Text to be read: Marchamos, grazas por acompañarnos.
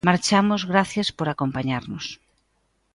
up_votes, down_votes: 0, 2